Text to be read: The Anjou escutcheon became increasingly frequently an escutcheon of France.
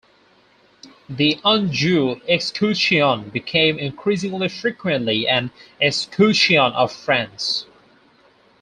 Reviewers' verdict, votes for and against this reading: rejected, 2, 2